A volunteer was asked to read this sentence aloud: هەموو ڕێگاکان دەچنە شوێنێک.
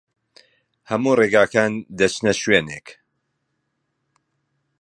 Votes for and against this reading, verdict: 3, 0, accepted